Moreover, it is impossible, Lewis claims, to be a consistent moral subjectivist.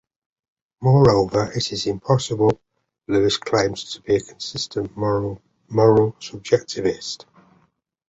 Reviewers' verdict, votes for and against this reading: rejected, 0, 2